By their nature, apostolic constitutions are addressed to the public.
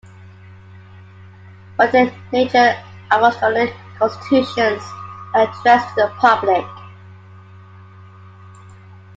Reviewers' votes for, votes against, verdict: 1, 2, rejected